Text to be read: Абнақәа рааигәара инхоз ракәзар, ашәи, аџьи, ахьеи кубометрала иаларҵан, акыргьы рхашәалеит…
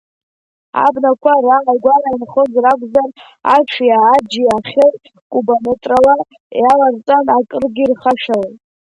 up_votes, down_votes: 1, 2